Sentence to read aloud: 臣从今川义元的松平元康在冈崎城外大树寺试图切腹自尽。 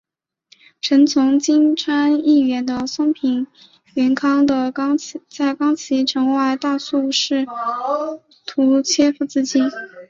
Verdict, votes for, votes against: accepted, 2, 0